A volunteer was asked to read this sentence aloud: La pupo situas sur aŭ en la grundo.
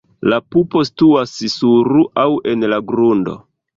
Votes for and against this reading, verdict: 0, 2, rejected